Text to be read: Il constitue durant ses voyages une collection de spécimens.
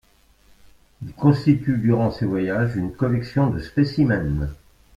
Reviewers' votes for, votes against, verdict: 2, 0, accepted